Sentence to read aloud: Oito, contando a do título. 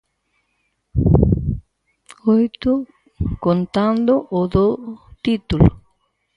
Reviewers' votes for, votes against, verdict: 0, 4, rejected